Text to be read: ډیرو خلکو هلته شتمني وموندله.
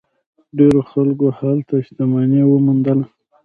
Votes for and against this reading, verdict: 2, 0, accepted